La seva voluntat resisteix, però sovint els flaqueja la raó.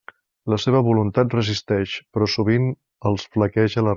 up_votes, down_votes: 0, 2